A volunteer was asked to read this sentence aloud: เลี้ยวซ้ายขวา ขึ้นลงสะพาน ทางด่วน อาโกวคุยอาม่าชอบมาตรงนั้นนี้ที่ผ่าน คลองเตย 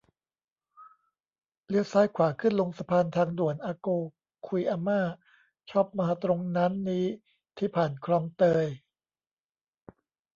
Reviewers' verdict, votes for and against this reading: rejected, 0, 2